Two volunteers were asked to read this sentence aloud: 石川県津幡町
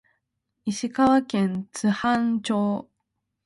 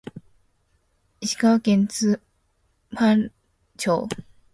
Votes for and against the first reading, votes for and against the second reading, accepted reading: 2, 0, 2, 3, first